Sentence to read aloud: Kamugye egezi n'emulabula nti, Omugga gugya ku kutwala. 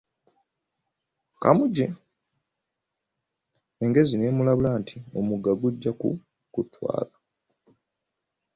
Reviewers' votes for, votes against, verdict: 1, 2, rejected